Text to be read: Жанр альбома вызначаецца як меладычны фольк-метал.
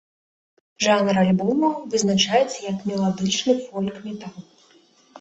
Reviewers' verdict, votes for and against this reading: accepted, 2, 0